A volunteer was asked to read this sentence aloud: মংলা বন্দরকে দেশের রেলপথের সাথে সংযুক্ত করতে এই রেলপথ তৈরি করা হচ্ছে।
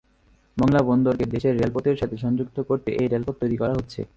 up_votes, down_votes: 3, 3